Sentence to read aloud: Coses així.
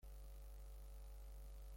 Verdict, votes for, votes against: rejected, 0, 2